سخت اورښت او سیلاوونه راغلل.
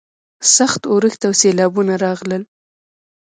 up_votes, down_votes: 1, 2